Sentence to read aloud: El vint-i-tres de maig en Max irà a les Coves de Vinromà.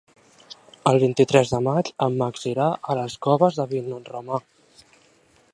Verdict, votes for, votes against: rejected, 0, 2